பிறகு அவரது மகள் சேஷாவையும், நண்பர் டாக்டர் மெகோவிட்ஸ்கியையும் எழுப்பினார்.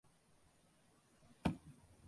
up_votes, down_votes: 0, 2